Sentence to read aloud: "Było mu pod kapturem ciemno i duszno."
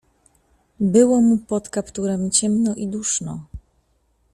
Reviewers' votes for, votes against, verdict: 2, 0, accepted